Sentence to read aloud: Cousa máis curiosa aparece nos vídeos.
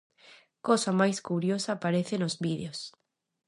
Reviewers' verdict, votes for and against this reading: rejected, 0, 2